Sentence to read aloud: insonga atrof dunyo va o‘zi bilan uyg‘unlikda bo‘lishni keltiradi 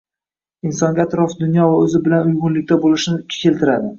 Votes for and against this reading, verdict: 0, 2, rejected